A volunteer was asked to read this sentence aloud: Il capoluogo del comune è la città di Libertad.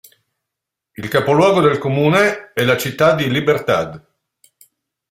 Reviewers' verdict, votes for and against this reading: accepted, 2, 0